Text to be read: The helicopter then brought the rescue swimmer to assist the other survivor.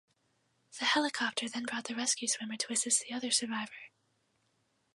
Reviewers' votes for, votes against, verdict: 2, 4, rejected